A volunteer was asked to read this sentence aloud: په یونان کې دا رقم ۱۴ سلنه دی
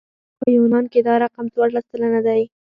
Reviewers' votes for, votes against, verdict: 0, 2, rejected